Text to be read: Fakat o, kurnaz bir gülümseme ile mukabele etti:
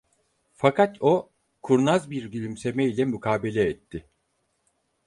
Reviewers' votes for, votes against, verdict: 4, 0, accepted